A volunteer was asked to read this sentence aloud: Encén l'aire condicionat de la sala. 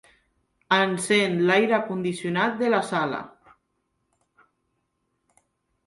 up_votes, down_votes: 2, 0